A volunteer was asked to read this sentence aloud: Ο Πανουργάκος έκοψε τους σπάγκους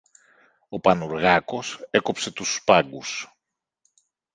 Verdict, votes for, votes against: accepted, 2, 0